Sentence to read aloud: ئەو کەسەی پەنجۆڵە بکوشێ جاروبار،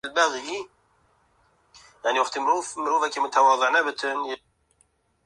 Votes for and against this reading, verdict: 0, 2, rejected